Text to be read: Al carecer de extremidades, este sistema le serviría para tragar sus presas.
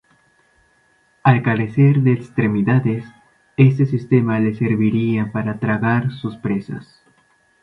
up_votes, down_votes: 2, 0